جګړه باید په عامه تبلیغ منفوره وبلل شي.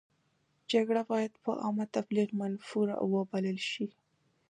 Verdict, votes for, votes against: accepted, 2, 1